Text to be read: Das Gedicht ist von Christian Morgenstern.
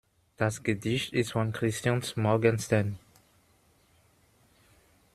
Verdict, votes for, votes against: rejected, 1, 2